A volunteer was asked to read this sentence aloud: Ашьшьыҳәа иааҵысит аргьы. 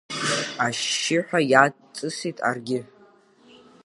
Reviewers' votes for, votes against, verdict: 0, 2, rejected